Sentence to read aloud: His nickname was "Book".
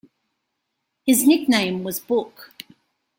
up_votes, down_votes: 2, 0